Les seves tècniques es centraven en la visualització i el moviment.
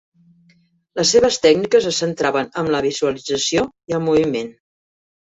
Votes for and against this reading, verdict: 2, 1, accepted